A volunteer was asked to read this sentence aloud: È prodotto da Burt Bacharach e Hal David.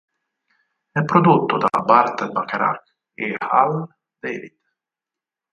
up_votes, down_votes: 2, 4